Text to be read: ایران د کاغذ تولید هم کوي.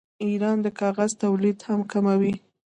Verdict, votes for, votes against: rejected, 1, 2